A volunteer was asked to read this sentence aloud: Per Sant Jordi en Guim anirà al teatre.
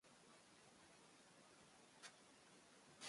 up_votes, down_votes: 0, 2